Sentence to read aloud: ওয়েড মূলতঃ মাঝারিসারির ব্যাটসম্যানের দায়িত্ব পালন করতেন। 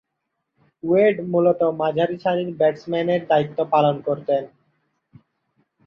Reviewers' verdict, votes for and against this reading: rejected, 0, 2